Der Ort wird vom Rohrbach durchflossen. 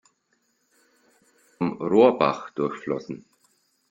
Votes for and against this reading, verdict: 0, 2, rejected